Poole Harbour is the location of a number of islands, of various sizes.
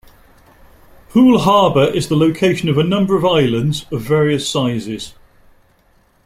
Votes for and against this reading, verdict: 2, 0, accepted